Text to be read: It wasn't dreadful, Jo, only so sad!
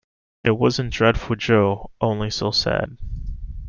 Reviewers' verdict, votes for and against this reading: accepted, 2, 0